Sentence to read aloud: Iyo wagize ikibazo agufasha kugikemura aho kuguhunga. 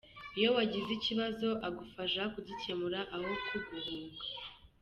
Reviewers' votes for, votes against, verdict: 2, 1, accepted